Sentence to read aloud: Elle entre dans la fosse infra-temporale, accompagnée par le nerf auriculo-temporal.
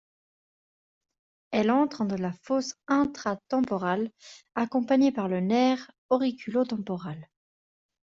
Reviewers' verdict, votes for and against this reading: rejected, 0, 2